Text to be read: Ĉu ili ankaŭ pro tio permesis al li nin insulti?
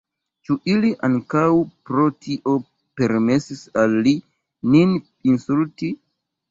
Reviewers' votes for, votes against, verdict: 0, 2, rejected